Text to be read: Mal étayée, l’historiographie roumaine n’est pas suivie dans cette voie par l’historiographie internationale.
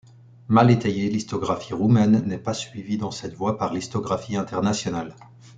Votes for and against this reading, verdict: 0, 2, rejected